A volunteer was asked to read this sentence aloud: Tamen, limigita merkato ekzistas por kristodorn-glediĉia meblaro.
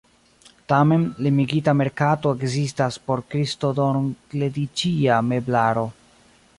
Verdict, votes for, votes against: rejected, 0, 2